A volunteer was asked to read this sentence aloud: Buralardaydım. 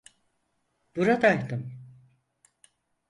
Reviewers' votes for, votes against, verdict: 2, 4, rejected